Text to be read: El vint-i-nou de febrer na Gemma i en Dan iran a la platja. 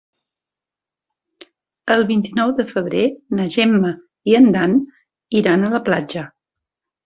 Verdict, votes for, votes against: accepted, 4, 1